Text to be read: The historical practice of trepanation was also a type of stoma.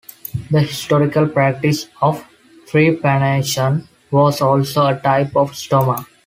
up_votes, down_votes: 2, 0